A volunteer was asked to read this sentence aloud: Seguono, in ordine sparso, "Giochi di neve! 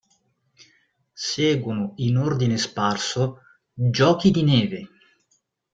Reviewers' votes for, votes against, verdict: 2, 0, accepted